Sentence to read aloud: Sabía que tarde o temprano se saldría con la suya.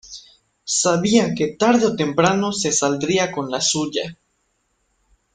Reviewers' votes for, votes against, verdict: 3, 0, accepted